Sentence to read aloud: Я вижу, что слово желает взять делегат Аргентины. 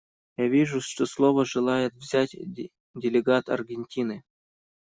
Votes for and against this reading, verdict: 0, 2, rejected